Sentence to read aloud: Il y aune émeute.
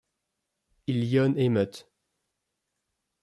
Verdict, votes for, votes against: rejected, 1, 2